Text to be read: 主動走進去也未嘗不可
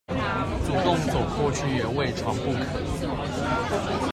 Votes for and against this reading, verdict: 1, 2, rejected